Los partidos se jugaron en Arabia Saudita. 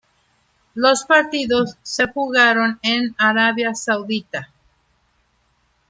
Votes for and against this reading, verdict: 2, 0, accepted